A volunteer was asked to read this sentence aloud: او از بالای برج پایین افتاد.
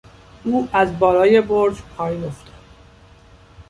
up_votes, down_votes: 1, 2